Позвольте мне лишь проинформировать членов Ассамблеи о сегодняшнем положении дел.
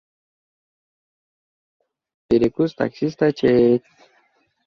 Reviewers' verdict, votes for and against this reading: rejected, 0, 2